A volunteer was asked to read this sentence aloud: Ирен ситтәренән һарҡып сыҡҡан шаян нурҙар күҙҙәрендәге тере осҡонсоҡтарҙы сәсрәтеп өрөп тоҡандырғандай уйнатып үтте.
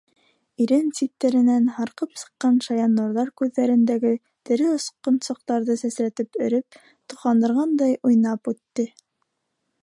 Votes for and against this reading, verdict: 3, 2, accepted